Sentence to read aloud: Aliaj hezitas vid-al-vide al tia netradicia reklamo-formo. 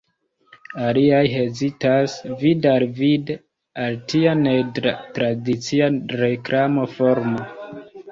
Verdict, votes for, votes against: rejected, 0, 2